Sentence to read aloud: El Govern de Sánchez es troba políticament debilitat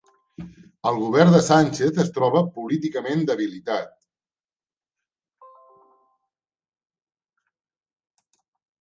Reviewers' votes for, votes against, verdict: 3, 0, accepted